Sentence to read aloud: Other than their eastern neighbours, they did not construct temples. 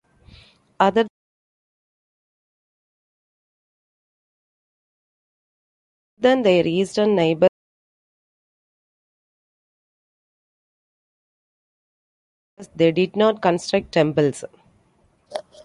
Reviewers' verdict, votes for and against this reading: rejected, 0, 2